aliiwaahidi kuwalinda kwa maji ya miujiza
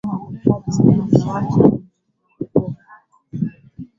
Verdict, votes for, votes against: rejected, 1, 2